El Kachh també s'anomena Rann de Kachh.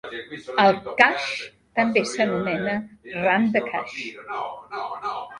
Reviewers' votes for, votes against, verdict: 0, 2, rejected